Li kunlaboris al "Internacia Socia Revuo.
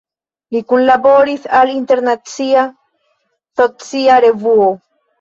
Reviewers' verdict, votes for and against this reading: rejected, 1, 2